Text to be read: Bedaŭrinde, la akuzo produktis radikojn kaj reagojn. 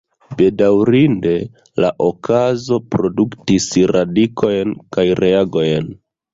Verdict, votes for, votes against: rejected, 0, 2